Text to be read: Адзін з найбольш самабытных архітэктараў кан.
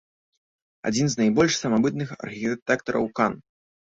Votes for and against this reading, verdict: 0, 2, rejected